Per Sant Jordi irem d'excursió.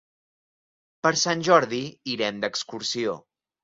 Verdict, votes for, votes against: accepted, 3, 0